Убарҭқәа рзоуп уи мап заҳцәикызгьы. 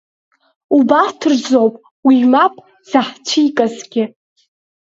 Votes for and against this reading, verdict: 0, 2, rejected